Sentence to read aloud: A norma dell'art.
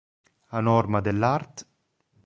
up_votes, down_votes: 1, 2